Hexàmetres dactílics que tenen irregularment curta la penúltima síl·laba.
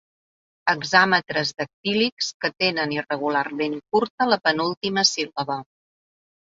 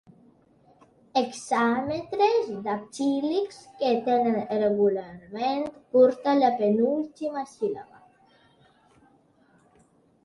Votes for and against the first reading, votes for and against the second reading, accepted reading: 2, 1, 1, 2, first